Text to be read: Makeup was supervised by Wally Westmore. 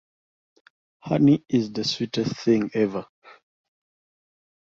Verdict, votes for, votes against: rejected, 0, 2